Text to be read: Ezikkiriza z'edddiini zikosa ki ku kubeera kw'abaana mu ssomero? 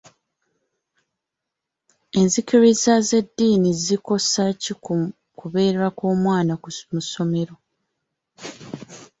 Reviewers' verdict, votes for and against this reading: rejected, 1, 2